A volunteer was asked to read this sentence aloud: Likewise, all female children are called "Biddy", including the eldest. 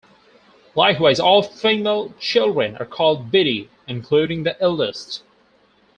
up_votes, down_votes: 2, 0